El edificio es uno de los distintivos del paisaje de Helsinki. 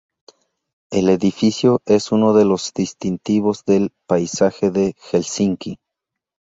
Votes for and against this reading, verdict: 2, 0, accepted